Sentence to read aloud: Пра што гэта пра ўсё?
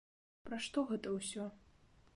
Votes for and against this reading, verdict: 0, 2, rejected